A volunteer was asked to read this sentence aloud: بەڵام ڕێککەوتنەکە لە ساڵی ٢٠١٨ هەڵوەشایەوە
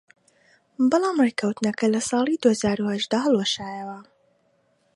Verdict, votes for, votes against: rejected, 0, 2